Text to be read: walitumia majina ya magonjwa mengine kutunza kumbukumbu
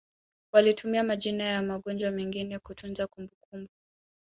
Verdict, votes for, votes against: accepted, 2, 0